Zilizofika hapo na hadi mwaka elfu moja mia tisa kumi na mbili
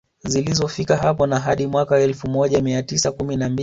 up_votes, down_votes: 0, 2